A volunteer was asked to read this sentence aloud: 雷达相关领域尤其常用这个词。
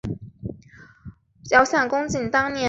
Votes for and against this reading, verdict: 0, 2, rejected